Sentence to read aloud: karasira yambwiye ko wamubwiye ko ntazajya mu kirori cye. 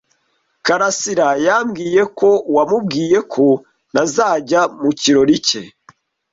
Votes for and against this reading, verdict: 2, 0, accepted